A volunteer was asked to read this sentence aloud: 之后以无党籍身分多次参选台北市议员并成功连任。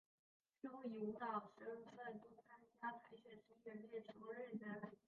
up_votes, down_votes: 0, 2